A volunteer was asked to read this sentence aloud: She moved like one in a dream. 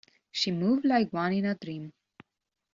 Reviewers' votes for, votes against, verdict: 2, 0, accepted